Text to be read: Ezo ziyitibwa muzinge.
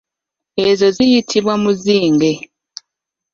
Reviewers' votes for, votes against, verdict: 2, 1, accepted